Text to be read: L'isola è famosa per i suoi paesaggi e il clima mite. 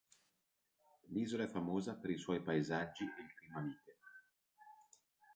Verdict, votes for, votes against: rejected, 0, 2